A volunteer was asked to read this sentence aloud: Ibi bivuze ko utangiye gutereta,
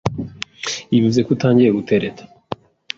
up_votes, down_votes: 2, 0